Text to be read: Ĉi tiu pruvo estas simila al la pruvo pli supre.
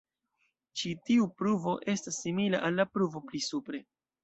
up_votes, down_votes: 2, 0